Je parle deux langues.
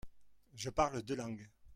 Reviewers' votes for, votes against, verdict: 0, 2, rejected